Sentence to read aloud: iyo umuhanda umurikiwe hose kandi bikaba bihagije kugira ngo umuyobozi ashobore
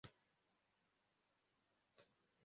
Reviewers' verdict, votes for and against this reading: rejected, 0, 2